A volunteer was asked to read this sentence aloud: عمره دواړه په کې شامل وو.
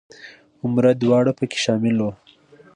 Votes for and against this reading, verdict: 2, 0, accepted